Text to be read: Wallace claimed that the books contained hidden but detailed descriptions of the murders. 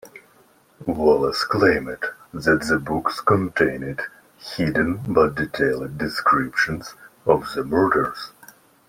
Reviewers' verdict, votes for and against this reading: accepted, 2, 1